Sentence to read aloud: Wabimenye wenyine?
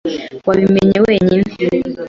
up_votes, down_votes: 2, 0